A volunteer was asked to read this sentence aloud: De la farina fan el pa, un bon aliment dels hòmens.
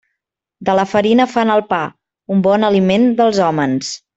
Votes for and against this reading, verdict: 2, 0, accepted